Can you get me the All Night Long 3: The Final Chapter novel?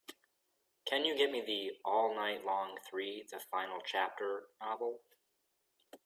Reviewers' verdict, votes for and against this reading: rejected, 0, 2